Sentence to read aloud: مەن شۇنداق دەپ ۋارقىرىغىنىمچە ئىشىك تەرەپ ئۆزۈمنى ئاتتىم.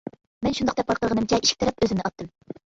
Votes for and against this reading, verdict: 0, 2, rejected